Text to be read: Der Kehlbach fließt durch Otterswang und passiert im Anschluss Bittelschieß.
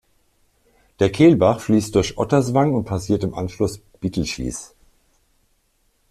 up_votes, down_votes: 2, 0